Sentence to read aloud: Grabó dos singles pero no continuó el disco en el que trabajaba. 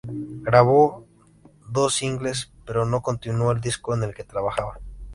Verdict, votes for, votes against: accepted, 2, 0